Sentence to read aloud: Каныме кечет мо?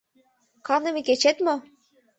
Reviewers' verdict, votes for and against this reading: accepted, 2, 0